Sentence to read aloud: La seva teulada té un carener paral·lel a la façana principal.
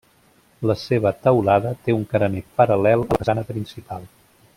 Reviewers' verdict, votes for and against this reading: rejected, 1, 2